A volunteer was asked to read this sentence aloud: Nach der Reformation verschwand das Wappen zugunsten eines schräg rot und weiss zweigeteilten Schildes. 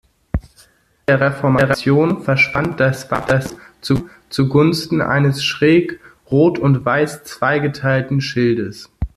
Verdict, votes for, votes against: rejected, 0, 2